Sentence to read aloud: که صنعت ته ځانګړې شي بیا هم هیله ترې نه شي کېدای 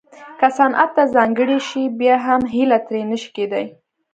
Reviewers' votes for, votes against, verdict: 1, 2, rejected